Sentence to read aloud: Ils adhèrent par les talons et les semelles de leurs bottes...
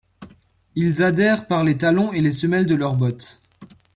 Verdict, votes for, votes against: accepted, 2, 0